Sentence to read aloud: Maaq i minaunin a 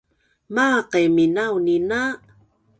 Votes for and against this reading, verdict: 3, 0, accepted